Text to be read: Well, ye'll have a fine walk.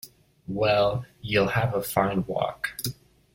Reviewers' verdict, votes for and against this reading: rejected, 0, 2